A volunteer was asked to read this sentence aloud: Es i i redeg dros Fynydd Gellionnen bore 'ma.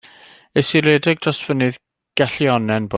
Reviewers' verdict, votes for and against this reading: rejected, 0, 2